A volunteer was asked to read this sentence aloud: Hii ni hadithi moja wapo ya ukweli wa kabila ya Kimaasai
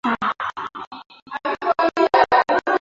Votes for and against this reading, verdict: 0, 2, rejected